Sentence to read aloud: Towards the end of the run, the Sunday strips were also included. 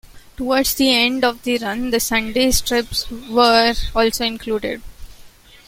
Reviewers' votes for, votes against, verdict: 1, 2, rejected